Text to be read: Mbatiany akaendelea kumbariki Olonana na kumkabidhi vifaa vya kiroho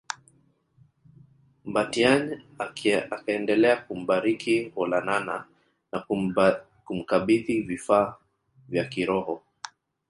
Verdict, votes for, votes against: rejected, 1, 2